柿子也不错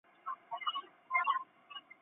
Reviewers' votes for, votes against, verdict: 1, 2, rejected